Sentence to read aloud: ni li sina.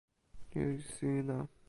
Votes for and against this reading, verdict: 0, 2, rejected